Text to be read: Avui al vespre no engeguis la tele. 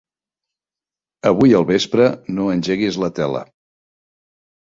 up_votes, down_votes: 3, 0